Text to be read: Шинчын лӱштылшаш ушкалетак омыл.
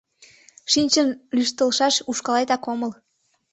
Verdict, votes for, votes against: accepted, 2, 0